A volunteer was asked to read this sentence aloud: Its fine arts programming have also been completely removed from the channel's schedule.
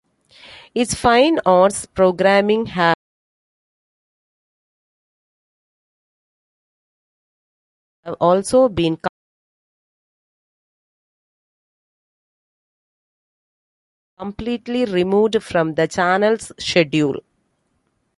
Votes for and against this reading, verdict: 1, 2, rejected